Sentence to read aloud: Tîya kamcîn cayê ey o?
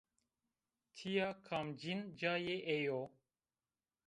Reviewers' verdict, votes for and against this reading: accepted, 2, 0